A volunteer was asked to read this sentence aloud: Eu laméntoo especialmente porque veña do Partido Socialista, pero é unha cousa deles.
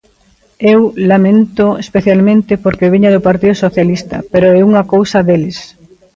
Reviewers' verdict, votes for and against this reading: accepted, 2, 1